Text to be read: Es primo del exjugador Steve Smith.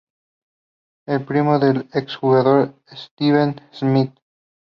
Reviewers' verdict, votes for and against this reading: rejected, 0, 2